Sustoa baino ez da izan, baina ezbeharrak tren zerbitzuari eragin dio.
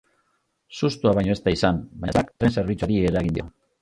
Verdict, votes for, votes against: rejected, 0, 2